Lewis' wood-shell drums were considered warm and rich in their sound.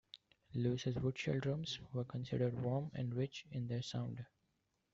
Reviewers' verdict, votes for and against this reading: rejected, 1, 2